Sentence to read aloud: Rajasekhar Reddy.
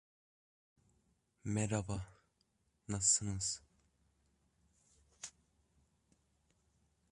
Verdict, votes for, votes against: rejected, 0, 2